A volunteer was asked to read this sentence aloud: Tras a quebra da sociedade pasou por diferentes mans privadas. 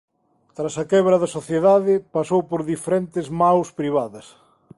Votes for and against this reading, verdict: 2, 0, accepted